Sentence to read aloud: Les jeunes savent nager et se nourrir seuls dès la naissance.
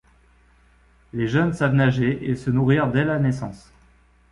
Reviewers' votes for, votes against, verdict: 0, 2, rejected